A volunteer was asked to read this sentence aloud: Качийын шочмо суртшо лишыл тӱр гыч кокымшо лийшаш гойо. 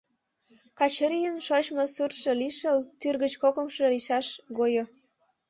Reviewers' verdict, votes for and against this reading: rejected, 1, 2